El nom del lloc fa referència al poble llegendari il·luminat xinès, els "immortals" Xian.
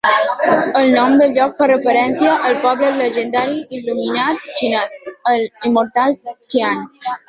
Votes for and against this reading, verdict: 2, 0, accepted